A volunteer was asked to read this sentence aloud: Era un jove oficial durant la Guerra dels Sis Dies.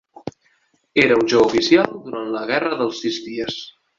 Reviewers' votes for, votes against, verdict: 1, 2, rejected